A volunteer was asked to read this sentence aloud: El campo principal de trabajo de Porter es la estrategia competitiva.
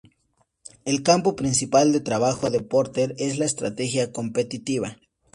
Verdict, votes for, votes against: accepted, 2, 0